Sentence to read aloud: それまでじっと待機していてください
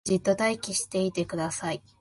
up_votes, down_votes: 0, 2